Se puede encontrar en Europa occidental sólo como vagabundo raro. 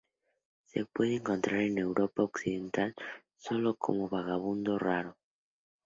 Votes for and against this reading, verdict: 2, 0, accepted